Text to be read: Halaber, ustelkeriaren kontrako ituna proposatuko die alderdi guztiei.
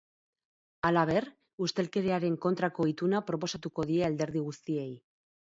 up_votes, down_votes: 4, 0